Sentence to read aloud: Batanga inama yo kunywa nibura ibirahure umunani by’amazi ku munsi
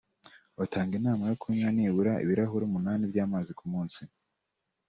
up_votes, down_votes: 0, 2